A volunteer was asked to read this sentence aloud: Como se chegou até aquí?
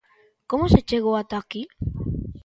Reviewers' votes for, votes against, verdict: 0, 2, rejected